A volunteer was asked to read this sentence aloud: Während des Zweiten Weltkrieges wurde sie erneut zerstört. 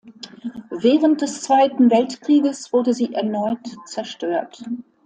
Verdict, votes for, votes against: accepted, 2, 0